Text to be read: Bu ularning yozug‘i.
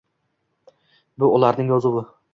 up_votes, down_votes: 2, 0